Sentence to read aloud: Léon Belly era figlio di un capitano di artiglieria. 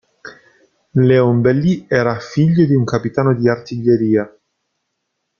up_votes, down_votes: 2, 0